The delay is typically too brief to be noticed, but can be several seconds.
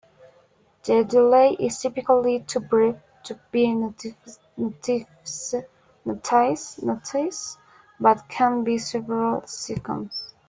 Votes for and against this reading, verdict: 1, 2, rejected